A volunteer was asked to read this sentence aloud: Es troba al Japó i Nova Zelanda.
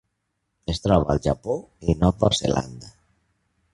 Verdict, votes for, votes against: accepted, 2, 0